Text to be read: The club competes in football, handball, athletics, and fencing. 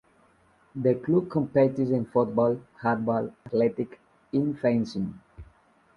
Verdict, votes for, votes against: accepted, 2, 0